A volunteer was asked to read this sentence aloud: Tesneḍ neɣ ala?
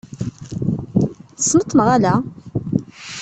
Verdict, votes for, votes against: rejected, 1, 2